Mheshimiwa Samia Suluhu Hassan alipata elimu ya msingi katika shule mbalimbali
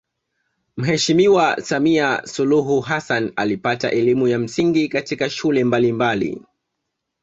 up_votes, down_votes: 2, 0